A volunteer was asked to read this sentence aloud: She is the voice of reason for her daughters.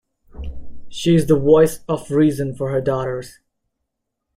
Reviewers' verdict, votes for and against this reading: accepted, 2, 0